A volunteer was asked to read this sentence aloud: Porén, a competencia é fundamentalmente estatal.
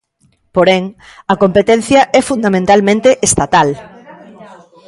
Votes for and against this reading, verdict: 1, 2, rejected